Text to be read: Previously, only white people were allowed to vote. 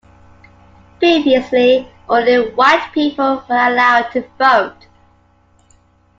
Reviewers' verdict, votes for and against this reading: accepted, 2, 0